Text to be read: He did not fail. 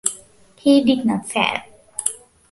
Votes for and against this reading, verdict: 2, 1, accepted